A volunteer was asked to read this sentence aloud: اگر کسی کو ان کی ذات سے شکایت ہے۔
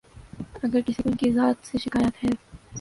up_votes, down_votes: 4, 0